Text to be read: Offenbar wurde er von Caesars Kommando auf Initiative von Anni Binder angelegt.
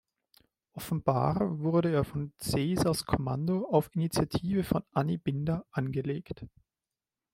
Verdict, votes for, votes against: accepted, 2, 0